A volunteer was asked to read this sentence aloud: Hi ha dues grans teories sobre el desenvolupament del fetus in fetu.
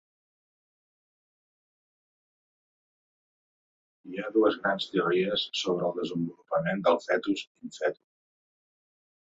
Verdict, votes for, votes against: rejected, 0, 2